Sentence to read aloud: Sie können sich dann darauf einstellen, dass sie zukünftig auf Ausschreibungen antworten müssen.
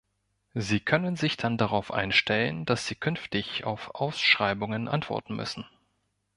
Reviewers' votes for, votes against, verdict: 1, 2, rejected